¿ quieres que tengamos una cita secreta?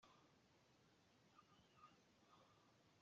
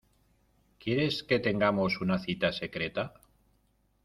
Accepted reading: second